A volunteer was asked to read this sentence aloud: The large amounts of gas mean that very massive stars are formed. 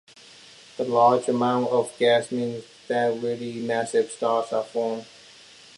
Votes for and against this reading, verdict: 1, 2, rejected